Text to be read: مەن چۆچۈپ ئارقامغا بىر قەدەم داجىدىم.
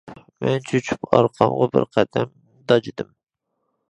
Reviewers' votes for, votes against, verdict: 2, 1, accepted